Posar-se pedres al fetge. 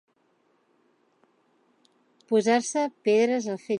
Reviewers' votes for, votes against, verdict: 1, 2, rejected